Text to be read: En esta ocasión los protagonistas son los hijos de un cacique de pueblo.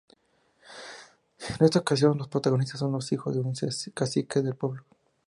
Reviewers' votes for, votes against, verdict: 0, 2, rejected